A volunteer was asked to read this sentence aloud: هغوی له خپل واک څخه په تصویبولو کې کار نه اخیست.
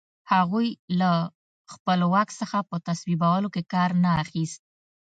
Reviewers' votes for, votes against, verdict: 2, 0, accepted